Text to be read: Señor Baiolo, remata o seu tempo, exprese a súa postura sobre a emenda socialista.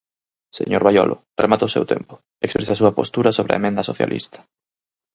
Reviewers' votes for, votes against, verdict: 4, 0, accepted